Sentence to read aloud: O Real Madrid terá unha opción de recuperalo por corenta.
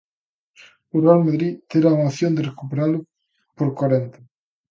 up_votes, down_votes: 1, 2